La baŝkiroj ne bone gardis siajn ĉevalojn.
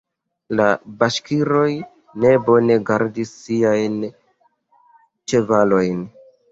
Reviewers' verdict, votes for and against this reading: accepted, 2, 1